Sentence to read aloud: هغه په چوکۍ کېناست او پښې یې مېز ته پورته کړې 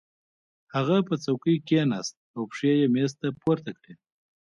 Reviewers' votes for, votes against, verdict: 2, 1, accepted